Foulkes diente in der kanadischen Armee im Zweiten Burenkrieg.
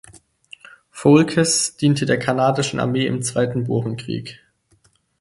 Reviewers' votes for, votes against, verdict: 0, 4, rejected